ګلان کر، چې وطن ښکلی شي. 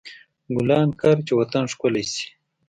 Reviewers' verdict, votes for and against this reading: accepted, 2, 0